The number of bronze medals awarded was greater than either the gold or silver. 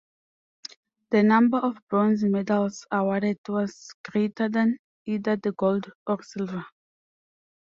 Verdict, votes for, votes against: accepted, 2, 0